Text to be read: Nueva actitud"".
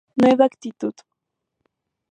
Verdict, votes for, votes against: accepted, 2, 0